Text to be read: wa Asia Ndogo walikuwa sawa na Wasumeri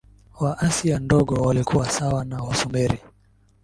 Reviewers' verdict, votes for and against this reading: accepted, 2, 1